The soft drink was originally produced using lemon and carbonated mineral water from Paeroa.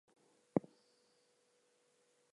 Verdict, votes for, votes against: rejected, 0, 2